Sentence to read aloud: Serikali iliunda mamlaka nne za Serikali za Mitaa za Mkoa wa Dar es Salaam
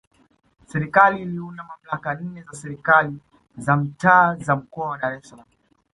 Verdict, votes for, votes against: accepted, 2, 0